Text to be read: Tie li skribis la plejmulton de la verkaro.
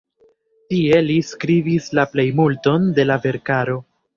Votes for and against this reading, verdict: 2, 0, accepted